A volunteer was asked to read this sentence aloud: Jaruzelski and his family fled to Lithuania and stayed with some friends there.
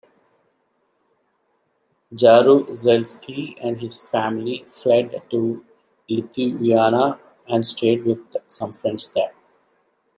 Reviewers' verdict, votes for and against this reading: rejected, 0, 2